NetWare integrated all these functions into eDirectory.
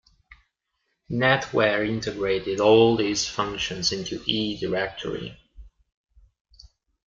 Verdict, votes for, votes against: accepted, 2, 0